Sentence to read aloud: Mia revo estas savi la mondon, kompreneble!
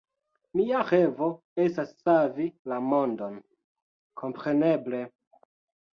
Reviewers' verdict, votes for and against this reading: rejected, 0, 2